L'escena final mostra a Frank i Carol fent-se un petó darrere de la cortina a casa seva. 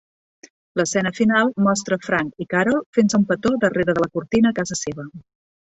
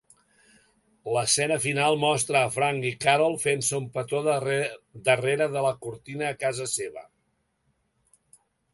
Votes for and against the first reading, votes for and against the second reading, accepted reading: 2, 0, 1, 2, first